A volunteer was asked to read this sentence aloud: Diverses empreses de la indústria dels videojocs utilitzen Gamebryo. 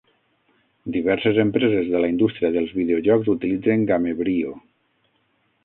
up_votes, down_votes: 3, 6